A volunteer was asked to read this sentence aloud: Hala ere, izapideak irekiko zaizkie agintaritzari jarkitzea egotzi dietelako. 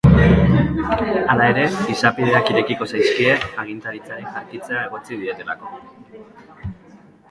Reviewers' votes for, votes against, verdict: 1, 2, rejected